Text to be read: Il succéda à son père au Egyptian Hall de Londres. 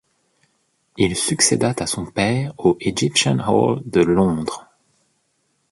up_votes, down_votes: 0, 2